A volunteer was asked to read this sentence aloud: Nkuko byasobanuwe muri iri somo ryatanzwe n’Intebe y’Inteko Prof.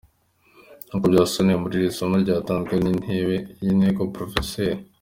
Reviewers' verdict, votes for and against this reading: accepted, 2, 0